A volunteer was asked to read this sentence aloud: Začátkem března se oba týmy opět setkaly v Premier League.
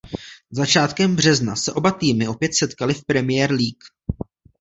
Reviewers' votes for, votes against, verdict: 2, 0, accepted